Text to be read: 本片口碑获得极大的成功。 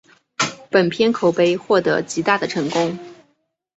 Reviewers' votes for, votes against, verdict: 2, 0, accepted